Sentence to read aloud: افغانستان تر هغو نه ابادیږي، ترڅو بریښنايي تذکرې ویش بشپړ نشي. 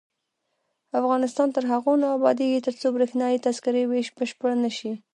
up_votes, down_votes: 0, 2